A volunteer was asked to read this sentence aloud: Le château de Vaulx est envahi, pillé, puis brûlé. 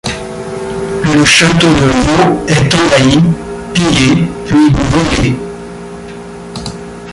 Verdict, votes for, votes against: rejected, 0, 2